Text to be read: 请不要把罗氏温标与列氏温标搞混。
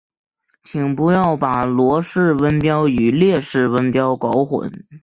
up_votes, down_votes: 2, 0